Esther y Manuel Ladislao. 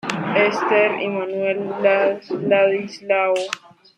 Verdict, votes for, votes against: rejected, 0, 2